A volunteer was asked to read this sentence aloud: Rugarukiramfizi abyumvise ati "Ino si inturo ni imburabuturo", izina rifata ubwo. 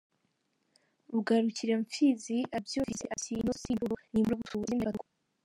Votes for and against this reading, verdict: 0, 2, rejected